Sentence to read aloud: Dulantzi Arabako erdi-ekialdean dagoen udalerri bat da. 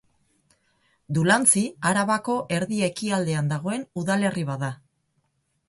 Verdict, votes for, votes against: accepted, 4, 0